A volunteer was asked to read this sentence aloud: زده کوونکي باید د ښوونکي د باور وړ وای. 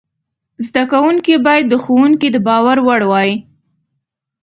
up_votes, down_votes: 2, 0